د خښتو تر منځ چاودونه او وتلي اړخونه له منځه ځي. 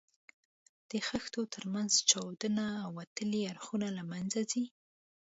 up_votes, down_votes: 2, 0